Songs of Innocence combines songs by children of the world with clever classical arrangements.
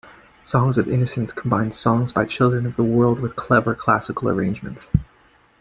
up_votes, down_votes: 3, 1